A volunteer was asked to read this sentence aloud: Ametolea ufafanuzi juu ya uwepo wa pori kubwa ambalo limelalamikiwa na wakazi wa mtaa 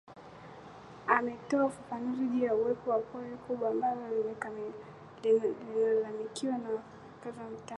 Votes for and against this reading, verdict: 1, 2, rejected